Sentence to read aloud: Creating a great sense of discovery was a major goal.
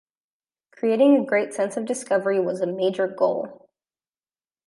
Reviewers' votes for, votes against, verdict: 2, 0, accepted